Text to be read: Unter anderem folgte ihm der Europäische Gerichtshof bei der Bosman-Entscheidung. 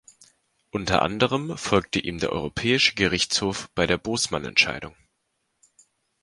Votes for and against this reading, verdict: 2, 0, accepted